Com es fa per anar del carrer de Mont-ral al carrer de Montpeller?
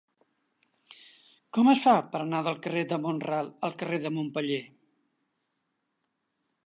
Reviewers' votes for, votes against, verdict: 3, 0, accepted